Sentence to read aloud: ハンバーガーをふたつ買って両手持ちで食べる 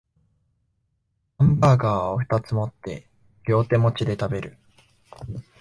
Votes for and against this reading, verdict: 1, 2, rejected